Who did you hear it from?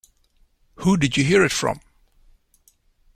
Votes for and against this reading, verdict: 2, 0, accepted